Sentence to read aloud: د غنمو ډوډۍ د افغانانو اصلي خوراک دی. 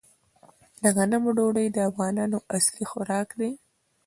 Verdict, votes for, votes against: accepted, 2, 0